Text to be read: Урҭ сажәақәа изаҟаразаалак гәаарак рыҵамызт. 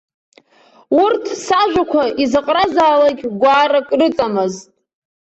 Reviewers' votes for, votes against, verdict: 1, 3, rejected